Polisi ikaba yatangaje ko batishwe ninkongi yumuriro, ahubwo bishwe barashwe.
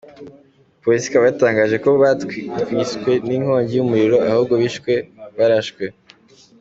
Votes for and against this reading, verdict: 2, 1, accepted